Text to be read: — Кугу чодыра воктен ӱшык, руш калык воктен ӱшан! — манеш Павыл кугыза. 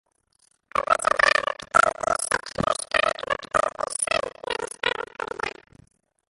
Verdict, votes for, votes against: rejected, 0, 2